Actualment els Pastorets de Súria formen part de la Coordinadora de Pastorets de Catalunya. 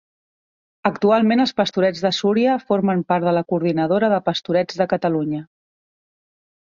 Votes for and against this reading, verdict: 2, 0, accepted